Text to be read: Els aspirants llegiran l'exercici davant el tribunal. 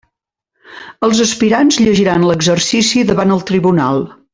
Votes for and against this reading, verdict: 0, 2, rejected